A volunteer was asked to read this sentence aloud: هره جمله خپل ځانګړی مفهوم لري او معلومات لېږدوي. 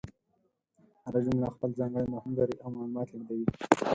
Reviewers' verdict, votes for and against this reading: rejected, 2, 4